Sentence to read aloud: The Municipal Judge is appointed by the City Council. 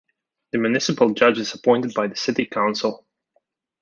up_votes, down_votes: 2, 0